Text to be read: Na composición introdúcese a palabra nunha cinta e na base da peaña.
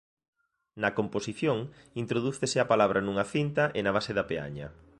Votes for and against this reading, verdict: 2, 0, accepted